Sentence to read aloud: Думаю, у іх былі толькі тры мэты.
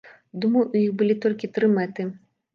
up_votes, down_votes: 2, 0